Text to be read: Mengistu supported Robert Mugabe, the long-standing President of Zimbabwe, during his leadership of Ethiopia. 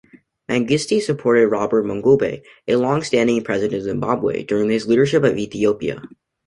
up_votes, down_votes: 0, 2